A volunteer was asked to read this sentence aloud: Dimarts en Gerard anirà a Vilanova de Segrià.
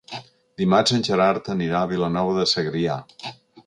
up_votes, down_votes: 2, 0